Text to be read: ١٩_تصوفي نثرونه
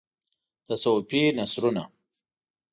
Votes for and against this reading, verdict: 0, 2, rejected